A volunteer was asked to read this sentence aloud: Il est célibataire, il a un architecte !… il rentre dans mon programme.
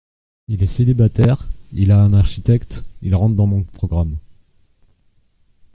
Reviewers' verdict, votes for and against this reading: accepted, 2, 0